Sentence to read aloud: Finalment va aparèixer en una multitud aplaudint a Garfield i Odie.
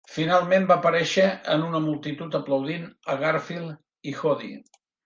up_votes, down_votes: 0, 2